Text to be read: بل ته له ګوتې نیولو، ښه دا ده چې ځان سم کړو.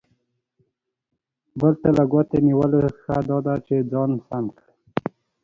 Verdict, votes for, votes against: accepted, 2, 0